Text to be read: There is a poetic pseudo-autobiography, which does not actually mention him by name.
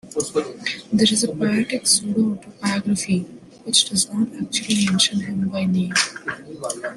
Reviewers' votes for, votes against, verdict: 1, 2, rejected